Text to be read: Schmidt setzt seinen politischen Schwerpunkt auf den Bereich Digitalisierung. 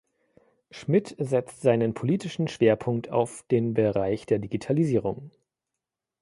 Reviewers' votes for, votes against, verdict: 1, 2, rejected